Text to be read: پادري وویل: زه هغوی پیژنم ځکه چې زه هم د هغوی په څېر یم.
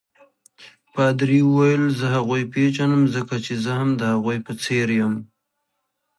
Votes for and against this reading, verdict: 2, 0, accepted